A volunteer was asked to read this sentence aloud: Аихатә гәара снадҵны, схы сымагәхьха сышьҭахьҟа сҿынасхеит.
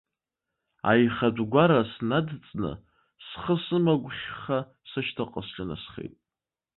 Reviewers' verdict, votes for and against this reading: accepted, 2, 0